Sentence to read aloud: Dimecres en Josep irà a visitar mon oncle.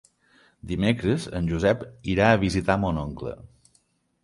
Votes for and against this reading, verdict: 3, 0, accepted